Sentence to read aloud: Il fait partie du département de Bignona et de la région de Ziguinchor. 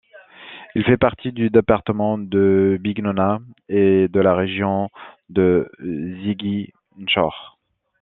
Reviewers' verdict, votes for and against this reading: rejected, 1, 2